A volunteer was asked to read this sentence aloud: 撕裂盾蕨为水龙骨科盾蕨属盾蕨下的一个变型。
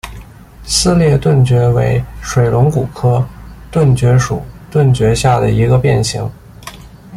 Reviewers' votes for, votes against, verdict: 2, 0, accepted